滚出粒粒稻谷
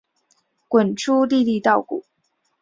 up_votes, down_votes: 5, 1